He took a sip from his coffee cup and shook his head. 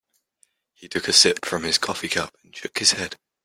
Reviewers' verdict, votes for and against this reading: rejected, 0, 2